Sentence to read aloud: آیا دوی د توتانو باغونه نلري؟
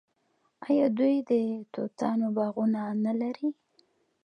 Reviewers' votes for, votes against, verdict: 2, 0, accepted